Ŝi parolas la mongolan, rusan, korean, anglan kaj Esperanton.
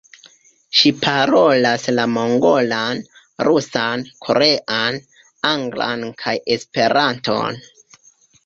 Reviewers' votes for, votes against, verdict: 2, 0, accepted